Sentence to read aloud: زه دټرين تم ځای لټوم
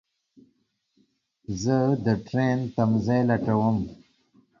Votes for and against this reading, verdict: 2, 0, accepted